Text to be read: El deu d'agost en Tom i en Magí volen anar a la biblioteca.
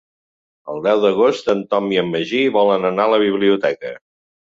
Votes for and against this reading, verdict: 3, 0, accepted